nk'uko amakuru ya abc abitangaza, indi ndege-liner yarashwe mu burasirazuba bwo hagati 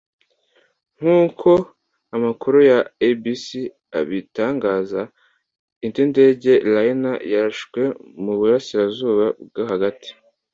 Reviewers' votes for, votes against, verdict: 2, 0, accepted